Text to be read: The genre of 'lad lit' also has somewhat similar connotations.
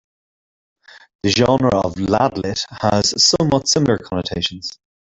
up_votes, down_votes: 0, 2